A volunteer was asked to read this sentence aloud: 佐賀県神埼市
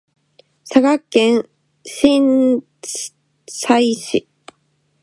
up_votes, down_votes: 0, 2